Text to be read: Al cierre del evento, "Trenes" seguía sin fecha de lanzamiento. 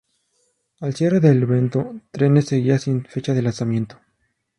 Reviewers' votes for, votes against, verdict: 2, 2, rejected